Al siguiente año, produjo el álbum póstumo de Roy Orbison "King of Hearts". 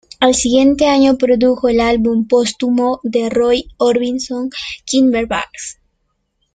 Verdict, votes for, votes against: accepted, 2, 1